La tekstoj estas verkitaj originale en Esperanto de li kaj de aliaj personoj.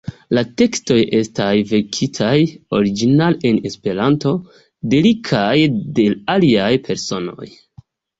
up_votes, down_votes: 1, 2